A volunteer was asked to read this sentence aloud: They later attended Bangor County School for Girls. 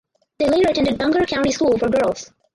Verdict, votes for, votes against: rejected, 2, 2